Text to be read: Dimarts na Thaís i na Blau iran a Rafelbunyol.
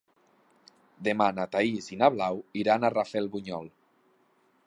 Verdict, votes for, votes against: rejected, 2, 6